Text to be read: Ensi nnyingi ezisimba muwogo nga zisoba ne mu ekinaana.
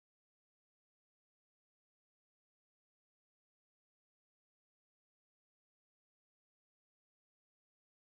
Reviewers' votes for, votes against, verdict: 0, 3, rejected